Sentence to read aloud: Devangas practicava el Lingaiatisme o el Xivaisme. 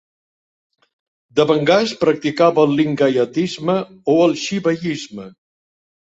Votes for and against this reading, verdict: 2, 0, accepted